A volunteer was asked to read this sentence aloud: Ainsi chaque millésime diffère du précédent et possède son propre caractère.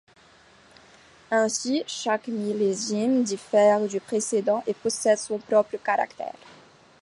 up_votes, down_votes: 2, 0